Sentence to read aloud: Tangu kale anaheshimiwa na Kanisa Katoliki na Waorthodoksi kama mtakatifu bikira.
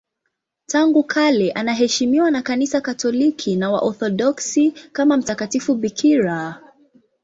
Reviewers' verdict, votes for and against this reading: accepted, 2, 0